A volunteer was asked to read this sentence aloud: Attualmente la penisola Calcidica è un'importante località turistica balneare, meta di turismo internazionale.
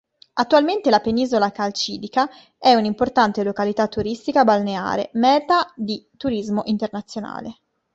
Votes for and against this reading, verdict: 2, 0, accepted